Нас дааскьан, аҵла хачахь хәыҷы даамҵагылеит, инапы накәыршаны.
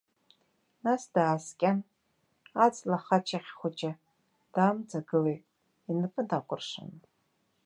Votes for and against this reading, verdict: 0, 3, rejected